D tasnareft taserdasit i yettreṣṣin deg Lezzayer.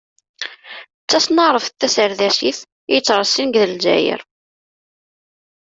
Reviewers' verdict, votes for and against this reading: accepted, 2, 0